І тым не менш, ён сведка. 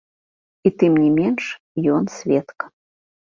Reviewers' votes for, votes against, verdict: 1, 2, rejected